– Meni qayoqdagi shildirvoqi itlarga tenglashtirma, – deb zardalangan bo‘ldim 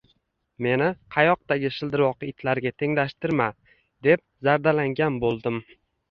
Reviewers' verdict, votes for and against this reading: rejected, 1, 2